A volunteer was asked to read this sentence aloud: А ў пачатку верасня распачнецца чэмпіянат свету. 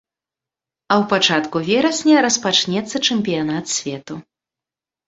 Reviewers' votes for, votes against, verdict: 2, 0, accepted